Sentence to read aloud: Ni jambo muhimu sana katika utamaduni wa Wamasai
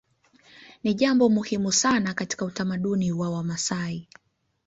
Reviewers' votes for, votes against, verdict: 0, 2, rejected